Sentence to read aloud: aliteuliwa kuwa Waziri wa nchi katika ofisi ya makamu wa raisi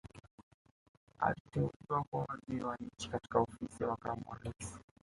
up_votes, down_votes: 0, 2